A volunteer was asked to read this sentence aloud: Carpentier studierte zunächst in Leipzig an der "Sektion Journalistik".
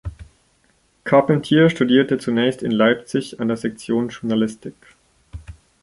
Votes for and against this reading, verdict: 2, 0, accepted